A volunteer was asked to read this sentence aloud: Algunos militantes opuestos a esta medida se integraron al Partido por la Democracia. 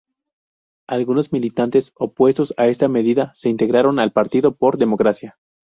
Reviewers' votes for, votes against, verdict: 0, 2, rejected